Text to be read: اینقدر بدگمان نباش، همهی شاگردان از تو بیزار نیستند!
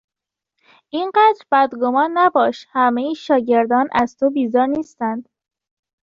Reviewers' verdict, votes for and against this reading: accepted, 2, 0